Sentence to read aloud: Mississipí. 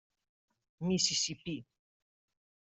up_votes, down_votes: 0, 2